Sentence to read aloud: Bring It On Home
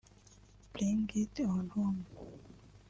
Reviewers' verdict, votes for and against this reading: rejected, 1, 2